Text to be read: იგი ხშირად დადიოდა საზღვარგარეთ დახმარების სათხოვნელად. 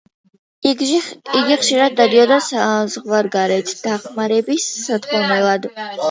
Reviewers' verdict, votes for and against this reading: rejected, 0, 2